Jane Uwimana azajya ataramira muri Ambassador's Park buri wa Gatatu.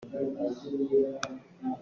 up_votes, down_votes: 0, 2